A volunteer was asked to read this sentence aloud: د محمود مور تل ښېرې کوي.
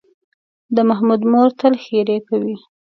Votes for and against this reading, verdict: 2, 0, accepted